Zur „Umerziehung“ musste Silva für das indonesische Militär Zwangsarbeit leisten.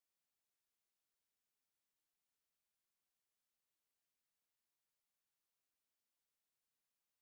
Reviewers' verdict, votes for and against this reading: rejected, 0, 2